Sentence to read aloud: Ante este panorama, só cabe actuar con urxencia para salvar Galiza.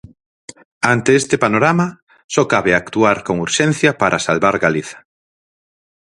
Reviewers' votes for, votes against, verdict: 4, 0, accepted